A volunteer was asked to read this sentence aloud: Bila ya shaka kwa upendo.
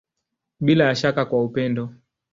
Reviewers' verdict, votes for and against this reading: accepted, 2, 0